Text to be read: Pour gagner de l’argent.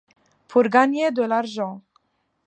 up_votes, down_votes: 2, 0